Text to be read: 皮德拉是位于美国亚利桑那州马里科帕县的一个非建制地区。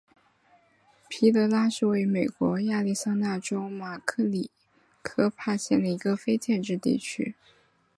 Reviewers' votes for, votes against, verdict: 3, 1, accepted